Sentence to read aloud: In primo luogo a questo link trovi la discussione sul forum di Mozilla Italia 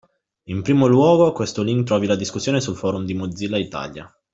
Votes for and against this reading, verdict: 2, 1, accepted